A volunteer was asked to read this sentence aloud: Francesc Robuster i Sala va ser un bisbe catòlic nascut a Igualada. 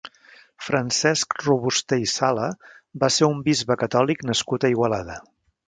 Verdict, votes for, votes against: accepted, 2, 0